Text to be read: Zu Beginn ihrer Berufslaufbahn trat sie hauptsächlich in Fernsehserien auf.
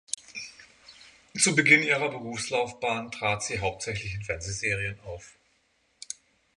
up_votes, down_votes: 6, 0